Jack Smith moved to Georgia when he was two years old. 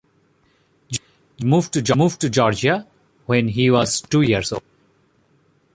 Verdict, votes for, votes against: rejected, 0, 2